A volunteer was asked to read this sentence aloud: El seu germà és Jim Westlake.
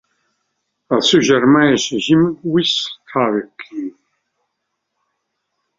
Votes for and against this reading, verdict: 2, 1, accepted